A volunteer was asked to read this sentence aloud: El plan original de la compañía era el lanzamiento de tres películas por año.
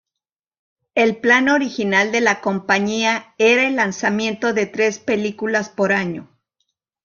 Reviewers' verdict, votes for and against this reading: accepted, 3, 1